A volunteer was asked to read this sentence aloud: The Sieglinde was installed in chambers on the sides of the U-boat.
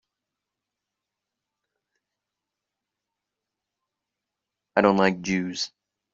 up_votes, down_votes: 0, 2